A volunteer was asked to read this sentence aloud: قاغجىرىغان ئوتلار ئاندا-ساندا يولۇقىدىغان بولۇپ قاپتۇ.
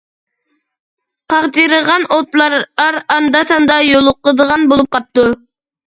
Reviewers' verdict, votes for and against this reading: rejected, 0, 2